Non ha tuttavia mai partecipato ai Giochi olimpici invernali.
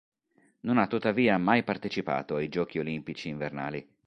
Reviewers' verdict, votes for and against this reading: accepted, 2, 0